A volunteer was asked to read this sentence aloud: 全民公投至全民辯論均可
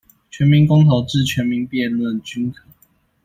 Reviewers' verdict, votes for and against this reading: accepted, 2, 0